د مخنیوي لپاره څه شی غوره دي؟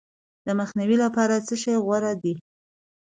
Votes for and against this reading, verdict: 2, 0, accepted